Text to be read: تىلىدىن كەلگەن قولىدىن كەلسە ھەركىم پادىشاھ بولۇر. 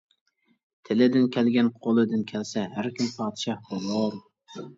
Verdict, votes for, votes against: accepted, 2, 0